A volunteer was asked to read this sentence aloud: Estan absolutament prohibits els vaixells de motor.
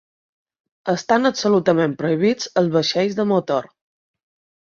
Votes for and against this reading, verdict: 2, 0, accepted